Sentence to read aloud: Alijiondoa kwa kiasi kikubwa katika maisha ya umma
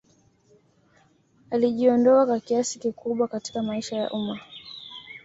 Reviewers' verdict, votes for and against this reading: accepted, 2, 0